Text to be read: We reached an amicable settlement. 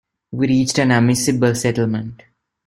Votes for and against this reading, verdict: 0, 2, rejected